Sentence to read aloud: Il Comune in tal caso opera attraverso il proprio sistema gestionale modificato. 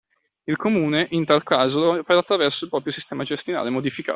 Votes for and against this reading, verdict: 0, 2, rejected